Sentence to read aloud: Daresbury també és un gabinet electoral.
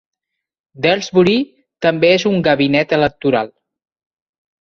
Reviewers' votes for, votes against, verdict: 2, 0, accepted